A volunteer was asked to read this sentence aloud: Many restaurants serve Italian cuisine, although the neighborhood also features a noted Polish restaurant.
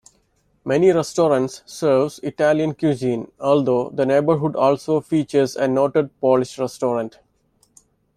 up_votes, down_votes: 0, 2